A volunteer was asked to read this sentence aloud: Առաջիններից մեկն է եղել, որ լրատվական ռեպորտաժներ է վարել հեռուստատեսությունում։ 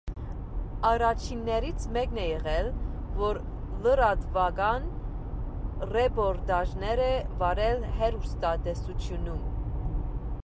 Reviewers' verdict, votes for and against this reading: accepted, 2, 0